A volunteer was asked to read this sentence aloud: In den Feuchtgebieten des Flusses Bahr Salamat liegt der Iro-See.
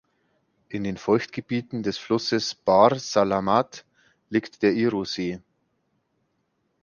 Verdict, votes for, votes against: accepted, 2, 0